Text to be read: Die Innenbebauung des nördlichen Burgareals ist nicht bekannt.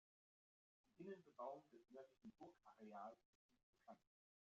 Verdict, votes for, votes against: rejected, 0, 2